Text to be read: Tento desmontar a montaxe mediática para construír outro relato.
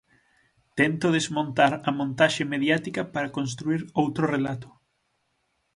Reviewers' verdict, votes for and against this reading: accepted, 6, 0